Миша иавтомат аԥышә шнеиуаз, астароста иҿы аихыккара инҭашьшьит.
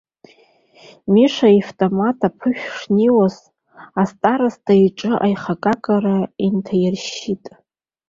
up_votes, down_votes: 0, 2